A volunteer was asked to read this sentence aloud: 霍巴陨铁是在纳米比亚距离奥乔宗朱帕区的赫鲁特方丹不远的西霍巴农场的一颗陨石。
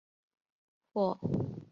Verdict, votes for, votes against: rejected, 0, 5